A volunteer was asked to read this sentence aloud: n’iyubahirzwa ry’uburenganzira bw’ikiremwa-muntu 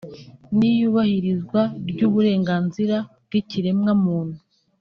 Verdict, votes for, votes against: accepted, 2, 0